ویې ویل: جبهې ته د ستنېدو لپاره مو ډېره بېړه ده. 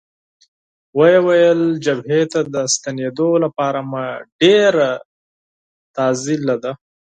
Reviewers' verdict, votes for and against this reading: rejected, 0, 4